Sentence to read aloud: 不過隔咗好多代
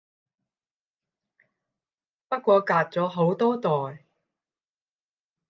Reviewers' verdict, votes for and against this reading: rejected, 0, 10